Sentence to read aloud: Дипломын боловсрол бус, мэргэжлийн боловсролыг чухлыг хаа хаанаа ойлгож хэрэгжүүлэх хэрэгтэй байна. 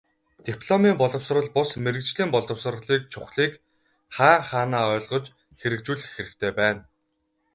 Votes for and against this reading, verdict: 6, 0, accepted